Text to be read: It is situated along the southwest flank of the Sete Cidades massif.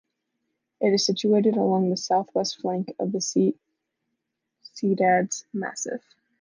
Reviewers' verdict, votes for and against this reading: rejected, 1, 2